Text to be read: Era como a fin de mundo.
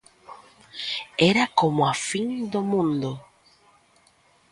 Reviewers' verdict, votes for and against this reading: rejected, 1, 2